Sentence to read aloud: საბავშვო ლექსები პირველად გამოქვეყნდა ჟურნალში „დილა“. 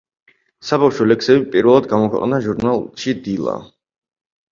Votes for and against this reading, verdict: 4, 0, accepted